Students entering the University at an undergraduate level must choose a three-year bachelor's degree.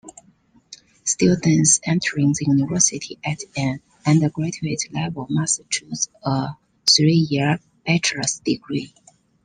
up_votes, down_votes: 2, 0